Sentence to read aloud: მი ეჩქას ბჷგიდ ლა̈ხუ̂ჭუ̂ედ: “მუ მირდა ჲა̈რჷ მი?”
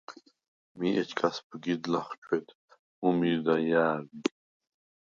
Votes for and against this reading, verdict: 0, 4, rejected